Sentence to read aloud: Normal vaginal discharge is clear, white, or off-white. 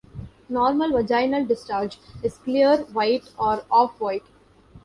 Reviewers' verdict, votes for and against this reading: accepted, 2, 0